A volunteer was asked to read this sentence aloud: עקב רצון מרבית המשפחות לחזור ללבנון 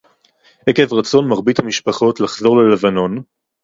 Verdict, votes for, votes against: accepted, 2, 0